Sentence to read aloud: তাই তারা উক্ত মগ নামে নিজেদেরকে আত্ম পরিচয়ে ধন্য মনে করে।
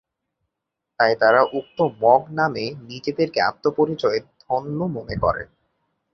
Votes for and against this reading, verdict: 2, 0, accepted